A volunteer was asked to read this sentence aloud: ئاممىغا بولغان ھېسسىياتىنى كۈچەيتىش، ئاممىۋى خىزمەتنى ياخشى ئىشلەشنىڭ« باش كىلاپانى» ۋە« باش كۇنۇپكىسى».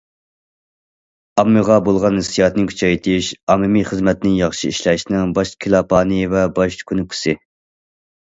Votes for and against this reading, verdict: 0, 2, rejected